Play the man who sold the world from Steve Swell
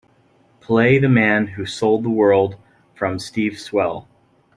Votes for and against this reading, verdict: 3, 0, accepted